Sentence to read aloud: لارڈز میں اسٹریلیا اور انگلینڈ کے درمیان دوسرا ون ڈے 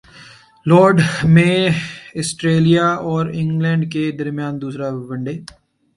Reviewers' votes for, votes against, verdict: 2, 0, accepted